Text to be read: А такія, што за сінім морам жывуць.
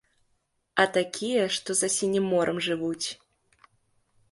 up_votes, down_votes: 2, 0